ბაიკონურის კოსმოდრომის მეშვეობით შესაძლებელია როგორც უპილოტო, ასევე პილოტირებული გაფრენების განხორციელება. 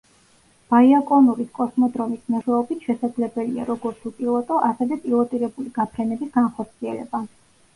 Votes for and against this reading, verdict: 0, 2, rejected